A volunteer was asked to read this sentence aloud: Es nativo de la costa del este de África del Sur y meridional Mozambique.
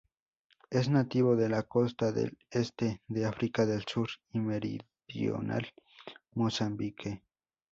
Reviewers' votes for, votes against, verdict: 4, 0, accepted